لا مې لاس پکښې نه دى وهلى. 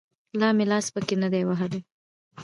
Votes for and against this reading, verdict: 0, 2, rejected